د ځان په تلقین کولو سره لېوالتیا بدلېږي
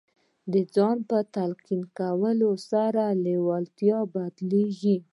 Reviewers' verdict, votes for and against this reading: accepted, 2, 1